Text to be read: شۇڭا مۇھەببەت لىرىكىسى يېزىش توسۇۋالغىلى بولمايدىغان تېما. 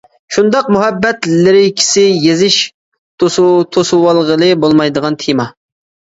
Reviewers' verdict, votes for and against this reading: rejected, 0, 2